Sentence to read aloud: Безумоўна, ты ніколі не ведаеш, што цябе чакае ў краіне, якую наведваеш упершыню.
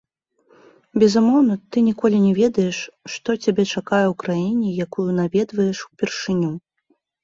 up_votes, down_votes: 1, 2